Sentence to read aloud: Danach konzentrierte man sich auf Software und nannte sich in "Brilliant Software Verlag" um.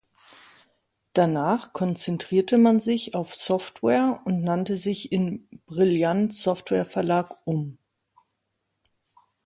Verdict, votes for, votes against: accepted, 2, 0